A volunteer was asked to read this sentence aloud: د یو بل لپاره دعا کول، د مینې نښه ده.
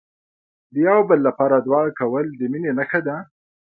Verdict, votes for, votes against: accepted, 2, 0